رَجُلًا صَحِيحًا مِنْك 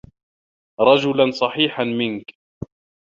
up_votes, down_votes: 2, 0